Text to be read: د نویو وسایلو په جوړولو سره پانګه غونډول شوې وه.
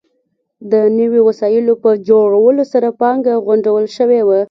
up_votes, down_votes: 2, 1